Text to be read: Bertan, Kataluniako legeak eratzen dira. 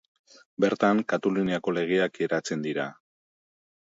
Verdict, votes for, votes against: rejected, 1, 4